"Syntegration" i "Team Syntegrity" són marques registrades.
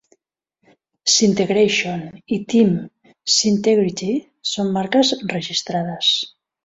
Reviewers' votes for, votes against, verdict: 2, 0, accepted